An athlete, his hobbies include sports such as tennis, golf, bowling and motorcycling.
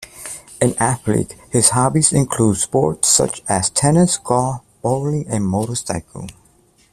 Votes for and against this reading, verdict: 0, 2, rejected